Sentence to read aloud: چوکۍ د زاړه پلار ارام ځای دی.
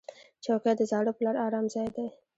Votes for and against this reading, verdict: 2, 1, accepted